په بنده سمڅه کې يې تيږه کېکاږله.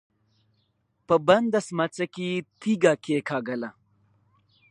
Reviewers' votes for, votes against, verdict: 1, 2, rejected